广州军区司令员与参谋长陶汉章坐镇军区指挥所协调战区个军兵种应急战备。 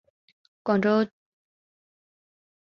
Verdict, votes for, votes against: rejected, 2, 5